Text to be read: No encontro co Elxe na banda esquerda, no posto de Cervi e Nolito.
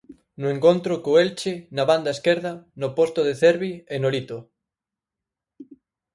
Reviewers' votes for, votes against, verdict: 0, 4, rejected